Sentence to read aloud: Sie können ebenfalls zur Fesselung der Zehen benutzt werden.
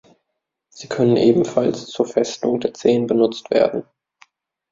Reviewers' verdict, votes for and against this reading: rejected, 1, 2